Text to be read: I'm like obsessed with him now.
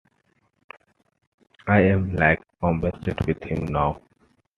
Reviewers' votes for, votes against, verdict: 2, 0, accepted